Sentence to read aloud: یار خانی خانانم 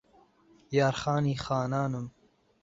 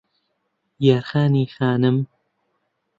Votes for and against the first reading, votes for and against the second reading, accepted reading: 2, 0, 0, 2, first